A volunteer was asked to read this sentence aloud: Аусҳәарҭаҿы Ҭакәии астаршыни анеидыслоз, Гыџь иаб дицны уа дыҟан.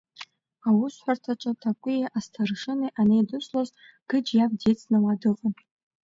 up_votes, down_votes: 2, 0